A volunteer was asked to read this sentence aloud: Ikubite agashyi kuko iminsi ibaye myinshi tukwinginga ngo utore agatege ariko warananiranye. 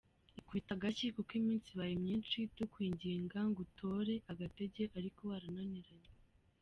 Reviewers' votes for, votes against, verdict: 0, 2, rejected